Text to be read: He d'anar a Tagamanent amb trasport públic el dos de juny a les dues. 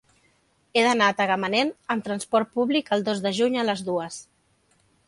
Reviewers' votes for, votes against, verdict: 4, 0, accepted